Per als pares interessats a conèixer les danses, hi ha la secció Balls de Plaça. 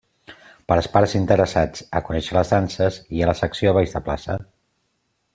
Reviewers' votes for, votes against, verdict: 2, 0, accepted